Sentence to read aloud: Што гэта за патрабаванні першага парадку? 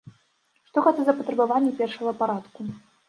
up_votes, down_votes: 2, 0